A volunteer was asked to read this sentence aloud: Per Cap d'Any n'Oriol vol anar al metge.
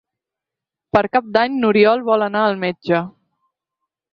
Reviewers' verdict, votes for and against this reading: accepted, 4, 0